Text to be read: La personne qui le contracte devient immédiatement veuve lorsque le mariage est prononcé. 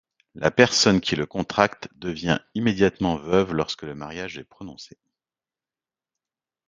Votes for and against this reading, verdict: 2, 0, accepted